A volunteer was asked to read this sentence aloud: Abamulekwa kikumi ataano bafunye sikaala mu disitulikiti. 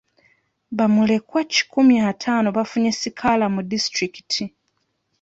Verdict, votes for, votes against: rejected, 0, 2